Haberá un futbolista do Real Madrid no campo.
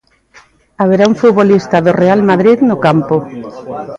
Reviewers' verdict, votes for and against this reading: rejected, 0, 2